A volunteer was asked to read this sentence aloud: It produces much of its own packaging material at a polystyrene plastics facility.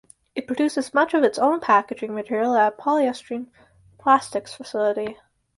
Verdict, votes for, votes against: rejected, 2, 4